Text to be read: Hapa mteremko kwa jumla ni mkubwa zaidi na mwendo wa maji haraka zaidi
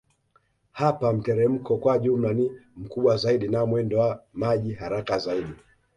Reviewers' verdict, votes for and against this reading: accepted, 2, 0